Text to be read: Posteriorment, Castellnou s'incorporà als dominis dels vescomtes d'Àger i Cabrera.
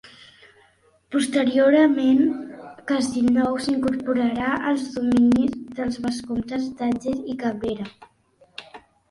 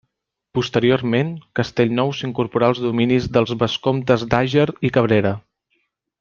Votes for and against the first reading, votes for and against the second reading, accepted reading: 1, 3, 3, 0, second